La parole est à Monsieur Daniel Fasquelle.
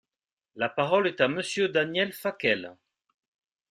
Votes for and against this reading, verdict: 0, 2, rejected